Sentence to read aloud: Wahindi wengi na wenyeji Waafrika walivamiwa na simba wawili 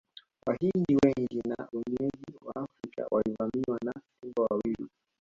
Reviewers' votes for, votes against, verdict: 0, 2, rejected